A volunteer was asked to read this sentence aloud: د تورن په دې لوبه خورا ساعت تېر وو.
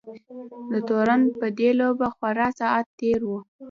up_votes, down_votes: 2, 0